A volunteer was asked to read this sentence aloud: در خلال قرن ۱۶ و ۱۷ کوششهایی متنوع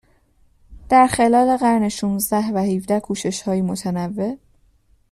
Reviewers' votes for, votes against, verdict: 0, 2, rejected